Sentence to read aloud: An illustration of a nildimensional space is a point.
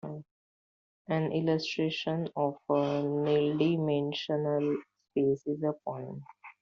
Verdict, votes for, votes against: accepted, 2, 1